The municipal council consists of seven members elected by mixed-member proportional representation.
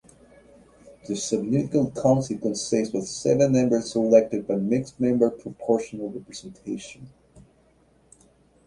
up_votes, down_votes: 0, 2